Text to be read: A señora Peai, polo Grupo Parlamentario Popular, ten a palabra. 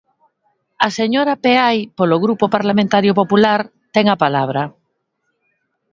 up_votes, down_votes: 2, 0